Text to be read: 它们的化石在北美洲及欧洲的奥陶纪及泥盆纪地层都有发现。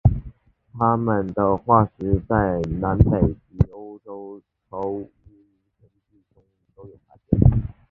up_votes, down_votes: 0, 3